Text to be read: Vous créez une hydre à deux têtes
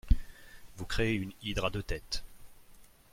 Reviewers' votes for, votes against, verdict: 2, 0, accepted